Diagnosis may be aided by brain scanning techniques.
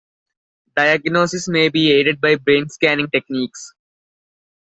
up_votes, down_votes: 2, 1